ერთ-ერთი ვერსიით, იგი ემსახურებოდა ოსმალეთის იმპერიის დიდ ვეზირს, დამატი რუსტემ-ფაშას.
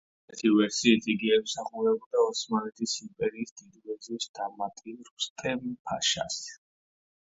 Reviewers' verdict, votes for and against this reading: rejected, 1, 2